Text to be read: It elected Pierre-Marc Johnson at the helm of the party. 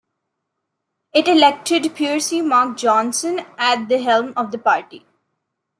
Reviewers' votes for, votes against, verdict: 0, 2, rejected